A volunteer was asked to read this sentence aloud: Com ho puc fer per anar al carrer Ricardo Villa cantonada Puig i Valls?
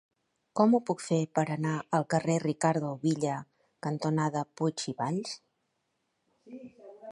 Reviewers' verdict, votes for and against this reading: accepted, 3, 0